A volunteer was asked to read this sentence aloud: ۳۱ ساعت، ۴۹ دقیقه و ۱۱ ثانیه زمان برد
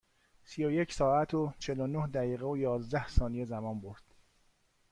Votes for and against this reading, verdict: 0, 2, rejected